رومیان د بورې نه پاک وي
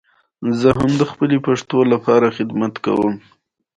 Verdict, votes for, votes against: accepted, 2, 0